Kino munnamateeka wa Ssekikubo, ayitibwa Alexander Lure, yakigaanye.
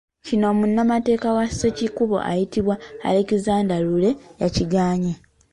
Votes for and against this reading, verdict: 2, 0, accepted